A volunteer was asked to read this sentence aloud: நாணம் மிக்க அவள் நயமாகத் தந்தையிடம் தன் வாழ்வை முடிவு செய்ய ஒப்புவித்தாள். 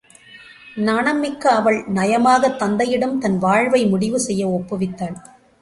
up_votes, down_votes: 2, 0